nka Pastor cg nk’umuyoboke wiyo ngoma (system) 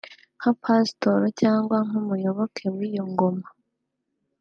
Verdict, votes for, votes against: rejected, 1, 3